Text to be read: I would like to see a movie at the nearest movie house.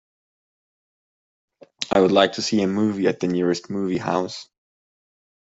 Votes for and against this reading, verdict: 3, 0, accepted